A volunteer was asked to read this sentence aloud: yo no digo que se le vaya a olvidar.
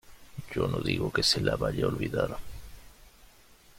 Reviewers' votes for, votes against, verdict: 0, 2, rejected